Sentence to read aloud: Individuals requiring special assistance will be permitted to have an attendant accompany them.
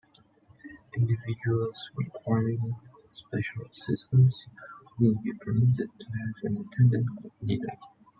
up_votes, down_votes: 2, 1